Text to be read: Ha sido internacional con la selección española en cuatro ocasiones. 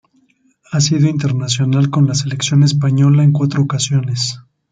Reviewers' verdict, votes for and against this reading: rejected, 0, 2